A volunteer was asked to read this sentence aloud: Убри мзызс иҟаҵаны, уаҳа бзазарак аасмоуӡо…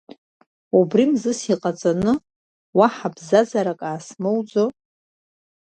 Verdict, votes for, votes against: accepted, 3, 2